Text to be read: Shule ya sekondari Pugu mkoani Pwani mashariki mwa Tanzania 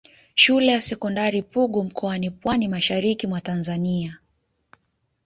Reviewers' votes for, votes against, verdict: 2, 1, accepted